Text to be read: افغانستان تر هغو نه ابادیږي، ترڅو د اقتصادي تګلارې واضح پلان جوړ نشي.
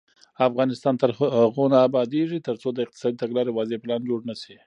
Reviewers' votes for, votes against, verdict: 2, 1, accepted